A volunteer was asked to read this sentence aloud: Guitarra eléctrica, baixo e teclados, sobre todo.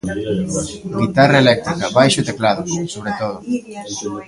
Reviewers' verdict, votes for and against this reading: rejected, 0, 2